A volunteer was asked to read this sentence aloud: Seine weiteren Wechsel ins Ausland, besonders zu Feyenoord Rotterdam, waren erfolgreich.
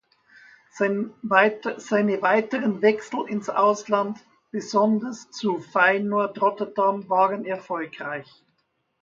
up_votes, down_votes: 1, 2